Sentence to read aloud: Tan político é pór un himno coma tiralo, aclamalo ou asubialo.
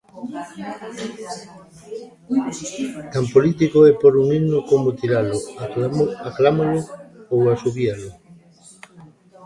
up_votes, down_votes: 0, 2